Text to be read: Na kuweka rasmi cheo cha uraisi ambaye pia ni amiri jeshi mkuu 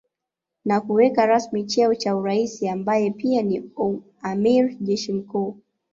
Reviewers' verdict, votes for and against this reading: accepted, 2, 0